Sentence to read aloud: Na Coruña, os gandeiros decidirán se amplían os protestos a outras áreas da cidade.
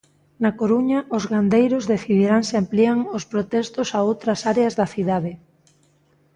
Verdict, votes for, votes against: accepted, 2, 0